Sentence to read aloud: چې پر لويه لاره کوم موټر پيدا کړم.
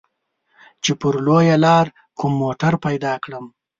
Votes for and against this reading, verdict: 1, 2, rejected